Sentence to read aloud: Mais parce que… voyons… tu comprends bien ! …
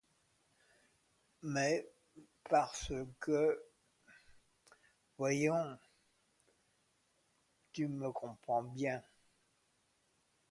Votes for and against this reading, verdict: 2, 1, accepted